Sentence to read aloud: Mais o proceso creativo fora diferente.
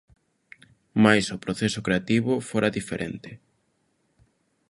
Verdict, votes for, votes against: accepted, 3, 0